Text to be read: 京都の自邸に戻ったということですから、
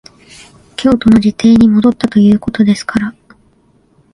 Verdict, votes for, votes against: rejected, 1, 2